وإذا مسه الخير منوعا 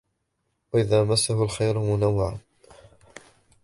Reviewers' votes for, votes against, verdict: 1, 2, rejected